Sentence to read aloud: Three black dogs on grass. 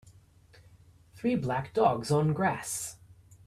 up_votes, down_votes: 2, 0